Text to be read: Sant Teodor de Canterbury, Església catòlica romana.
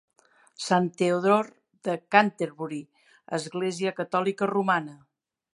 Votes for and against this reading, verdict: 3, 1, accepted